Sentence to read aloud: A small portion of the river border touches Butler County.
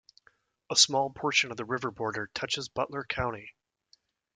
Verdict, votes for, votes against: accepted, 2, 0